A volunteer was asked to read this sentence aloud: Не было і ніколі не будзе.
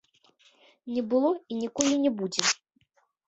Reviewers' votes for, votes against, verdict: 0, 2, rejected